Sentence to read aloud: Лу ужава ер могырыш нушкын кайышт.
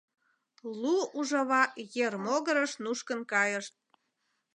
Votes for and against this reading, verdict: 2, 0, accepted